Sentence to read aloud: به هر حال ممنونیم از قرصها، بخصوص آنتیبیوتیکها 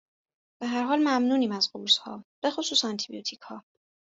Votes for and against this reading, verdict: 2, 0, accepted